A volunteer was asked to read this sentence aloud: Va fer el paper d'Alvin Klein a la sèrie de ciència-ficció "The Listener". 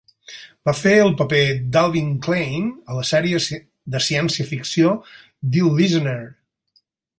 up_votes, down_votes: 0, 4